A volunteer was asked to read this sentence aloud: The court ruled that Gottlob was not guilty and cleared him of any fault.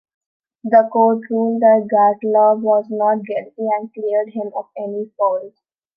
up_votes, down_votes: 2, 1